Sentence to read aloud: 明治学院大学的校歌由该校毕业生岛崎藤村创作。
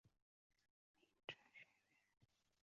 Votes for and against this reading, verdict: 1, 3, rejected